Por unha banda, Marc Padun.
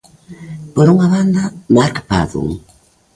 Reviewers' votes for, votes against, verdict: 1, 2, rejected